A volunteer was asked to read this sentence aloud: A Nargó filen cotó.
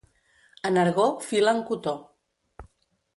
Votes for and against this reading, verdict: 2, 0, accepted